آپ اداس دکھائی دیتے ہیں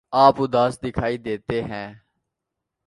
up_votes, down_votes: 2, 0